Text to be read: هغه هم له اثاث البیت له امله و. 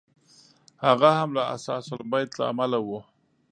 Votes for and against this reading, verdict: 1, 2, rejected